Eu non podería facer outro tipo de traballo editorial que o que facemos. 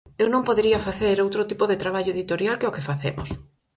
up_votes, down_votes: 4, 0